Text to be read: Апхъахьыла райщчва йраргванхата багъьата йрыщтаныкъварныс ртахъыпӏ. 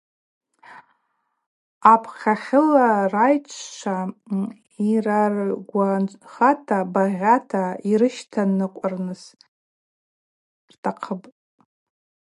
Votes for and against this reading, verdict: 0, 2, rejected